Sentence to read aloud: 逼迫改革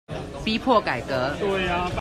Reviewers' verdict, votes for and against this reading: rejected, 0, 2